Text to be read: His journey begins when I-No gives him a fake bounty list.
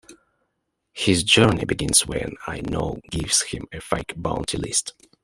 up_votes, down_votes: 1, 2